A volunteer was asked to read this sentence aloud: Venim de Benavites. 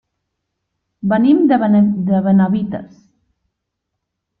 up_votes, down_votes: 0, 2